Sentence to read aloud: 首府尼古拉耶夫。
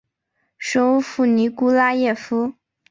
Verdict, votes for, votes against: accepted, 2, 0